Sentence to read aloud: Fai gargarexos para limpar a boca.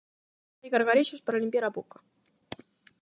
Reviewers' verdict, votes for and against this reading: rejected, 0, 8